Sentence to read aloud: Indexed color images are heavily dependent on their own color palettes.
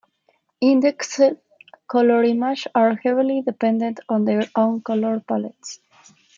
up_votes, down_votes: 1, 2